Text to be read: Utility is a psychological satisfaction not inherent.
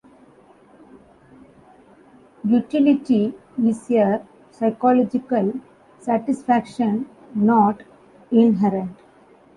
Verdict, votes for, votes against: rejected, 0, 2